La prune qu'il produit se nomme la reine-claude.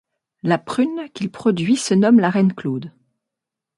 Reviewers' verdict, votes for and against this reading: accepted, 2, 0